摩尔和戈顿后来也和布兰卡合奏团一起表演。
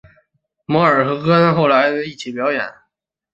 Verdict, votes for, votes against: rejected, 1, 2